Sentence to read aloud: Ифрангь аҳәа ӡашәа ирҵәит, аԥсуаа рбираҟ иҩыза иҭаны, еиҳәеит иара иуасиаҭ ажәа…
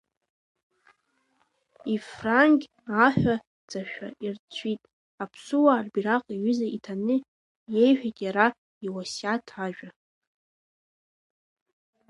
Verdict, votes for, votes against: rejected, 1, 2